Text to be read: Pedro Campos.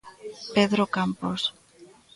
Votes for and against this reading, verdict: 1, 2, rejected